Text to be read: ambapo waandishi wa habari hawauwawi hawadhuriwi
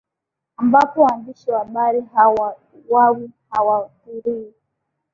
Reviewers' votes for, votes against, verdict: 2, 3, rejected